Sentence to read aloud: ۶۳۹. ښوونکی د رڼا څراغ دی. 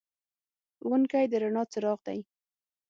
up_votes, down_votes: 0, 2